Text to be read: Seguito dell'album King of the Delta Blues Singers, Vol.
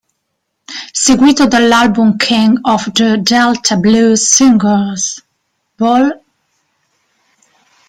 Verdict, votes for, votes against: rejected, 1, 2